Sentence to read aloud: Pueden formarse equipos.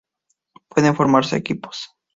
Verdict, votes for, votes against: accepted, 2, 0